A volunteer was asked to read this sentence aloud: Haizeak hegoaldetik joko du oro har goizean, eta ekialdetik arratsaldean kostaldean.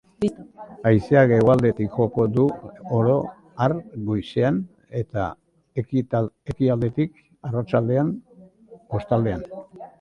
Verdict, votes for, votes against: rejected, 0, 2